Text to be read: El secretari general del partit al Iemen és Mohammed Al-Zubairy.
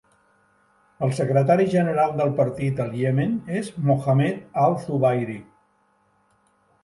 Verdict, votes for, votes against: rejected, 1, 2